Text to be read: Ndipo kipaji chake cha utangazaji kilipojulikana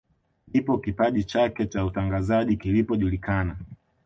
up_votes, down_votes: 2, 0